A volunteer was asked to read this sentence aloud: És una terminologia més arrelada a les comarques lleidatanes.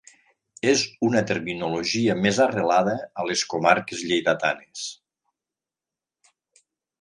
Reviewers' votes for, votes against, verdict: 3, 0, accepted